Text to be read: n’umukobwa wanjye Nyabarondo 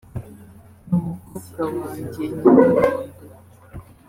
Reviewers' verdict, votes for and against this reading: rejected, 1, 2